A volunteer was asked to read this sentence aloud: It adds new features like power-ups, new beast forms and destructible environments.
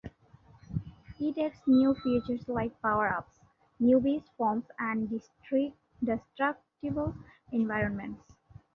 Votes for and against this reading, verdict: 0, 2, rejected